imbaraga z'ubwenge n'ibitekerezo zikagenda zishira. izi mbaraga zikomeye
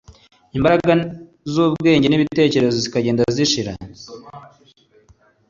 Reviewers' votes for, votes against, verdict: 0, 2, rejected